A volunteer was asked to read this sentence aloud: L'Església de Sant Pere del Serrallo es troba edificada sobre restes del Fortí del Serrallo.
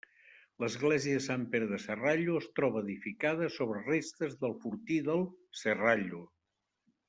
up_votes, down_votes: 0, 2